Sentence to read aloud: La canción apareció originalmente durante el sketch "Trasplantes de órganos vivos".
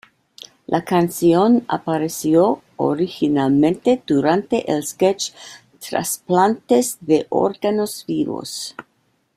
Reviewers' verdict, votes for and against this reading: accepted, 2, 1